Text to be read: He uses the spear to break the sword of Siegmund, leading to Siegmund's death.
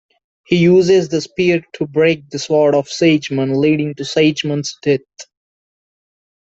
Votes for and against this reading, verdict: 2, 0, accepted